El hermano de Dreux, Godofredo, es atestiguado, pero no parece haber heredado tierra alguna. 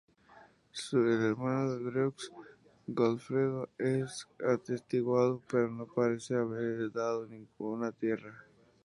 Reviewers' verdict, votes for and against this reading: rejected, 0, 2